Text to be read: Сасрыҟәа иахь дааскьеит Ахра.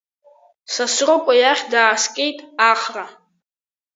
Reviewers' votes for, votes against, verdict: 2, 0, accepted